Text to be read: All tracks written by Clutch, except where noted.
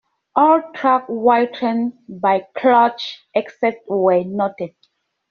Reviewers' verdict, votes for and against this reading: rejected, 0, 2